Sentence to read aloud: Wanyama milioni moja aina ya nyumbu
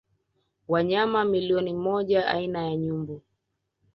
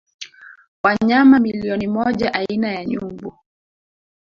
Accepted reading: first